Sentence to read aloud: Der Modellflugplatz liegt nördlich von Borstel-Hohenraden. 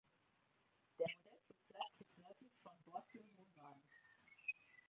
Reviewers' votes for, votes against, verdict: 0, 2, rejected